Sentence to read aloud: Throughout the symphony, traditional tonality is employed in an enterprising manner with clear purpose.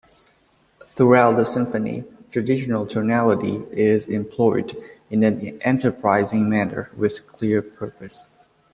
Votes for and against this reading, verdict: 2, 0, accepted